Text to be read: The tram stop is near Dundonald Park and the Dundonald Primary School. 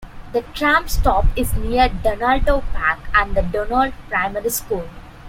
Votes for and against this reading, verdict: 1, 2, rejected